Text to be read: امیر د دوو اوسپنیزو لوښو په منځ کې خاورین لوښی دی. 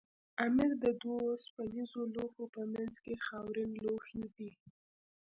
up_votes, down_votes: 1, 2